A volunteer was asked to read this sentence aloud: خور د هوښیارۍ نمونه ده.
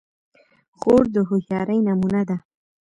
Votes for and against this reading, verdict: 2, 0, accepted